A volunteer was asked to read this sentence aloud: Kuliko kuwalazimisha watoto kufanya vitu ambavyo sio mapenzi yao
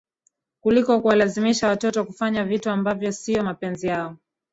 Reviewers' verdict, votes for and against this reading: rejected, 1, 2